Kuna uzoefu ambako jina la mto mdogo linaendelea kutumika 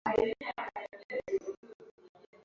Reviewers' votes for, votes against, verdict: 0, 2, rejected